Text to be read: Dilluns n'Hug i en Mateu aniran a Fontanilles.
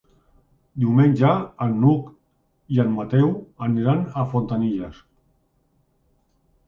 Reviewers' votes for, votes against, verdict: 0, 2, rejected